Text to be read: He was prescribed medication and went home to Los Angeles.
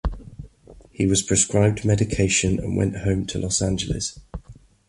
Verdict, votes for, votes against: accepted, 2, 0